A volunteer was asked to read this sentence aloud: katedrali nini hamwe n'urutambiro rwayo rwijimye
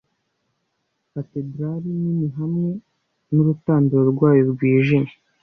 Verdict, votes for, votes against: rejected, 1, 2